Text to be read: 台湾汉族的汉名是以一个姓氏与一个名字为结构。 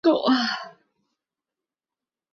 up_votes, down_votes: 0, 3